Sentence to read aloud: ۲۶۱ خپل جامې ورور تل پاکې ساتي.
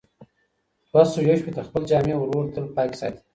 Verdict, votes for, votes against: rejected, 0, 2